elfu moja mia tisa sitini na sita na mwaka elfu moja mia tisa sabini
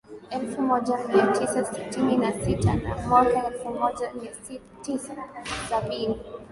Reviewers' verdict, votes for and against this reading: accepted, 2, 0